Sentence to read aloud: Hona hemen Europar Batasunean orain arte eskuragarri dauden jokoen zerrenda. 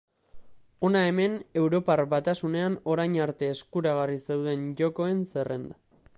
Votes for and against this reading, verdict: 0, 2, rejected